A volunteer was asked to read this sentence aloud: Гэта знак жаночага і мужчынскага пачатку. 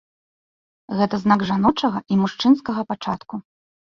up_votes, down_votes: 2, 0